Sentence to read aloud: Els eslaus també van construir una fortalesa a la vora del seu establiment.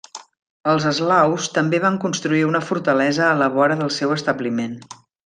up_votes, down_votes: 2, 0